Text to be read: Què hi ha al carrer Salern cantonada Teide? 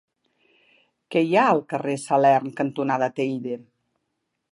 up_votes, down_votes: 2, 0